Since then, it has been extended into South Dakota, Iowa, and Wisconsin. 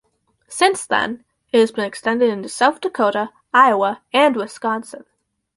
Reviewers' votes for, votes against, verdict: 4, 0, accepted